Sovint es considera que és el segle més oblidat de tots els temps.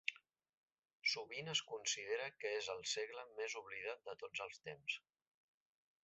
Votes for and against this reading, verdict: 1, 2, rejected